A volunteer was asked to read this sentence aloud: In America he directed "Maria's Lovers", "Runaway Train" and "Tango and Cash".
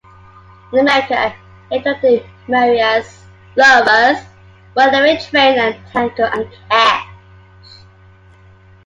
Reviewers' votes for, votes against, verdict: 2, 1, accepted